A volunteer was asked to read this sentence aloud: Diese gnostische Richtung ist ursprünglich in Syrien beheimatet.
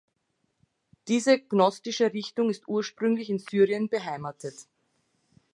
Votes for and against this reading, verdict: 2, 0, accepted